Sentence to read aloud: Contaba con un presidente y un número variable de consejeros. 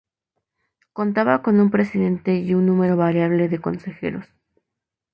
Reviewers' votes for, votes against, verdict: 2, 0, accepted